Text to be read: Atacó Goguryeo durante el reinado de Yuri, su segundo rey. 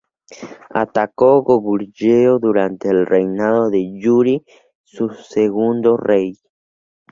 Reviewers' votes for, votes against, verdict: 2, 0, accepted